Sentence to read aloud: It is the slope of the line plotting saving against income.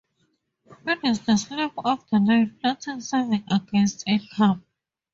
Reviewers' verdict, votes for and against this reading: rejected, 0, 2